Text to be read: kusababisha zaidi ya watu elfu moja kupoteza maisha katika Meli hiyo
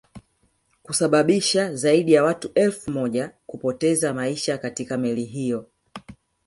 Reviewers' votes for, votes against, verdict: 1, 2, rejected